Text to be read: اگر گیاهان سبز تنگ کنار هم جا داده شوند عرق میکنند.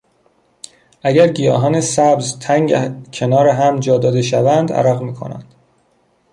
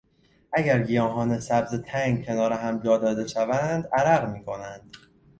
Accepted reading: second